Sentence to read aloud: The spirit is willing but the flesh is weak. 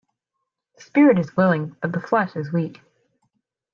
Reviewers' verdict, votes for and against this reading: rejected, 1, 2